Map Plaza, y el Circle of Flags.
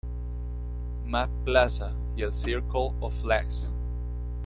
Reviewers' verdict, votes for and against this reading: rejected, 0, 2